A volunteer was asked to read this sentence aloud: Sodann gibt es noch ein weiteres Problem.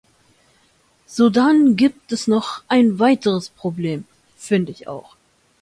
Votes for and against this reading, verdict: 0, 2, rejected